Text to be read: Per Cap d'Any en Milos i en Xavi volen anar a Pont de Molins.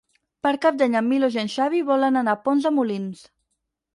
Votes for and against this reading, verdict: 4, 2, accepted